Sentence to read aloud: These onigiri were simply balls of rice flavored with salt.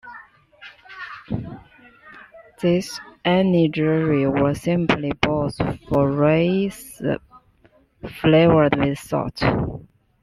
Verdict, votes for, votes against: rejected, 1, 2